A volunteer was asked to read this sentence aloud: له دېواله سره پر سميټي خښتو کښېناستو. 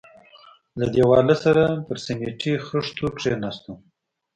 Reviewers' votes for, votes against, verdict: 2, 0, accepted